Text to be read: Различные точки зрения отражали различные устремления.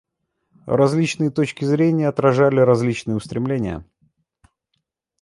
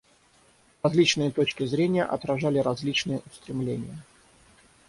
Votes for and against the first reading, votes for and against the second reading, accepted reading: 2, 0, 0, 6, first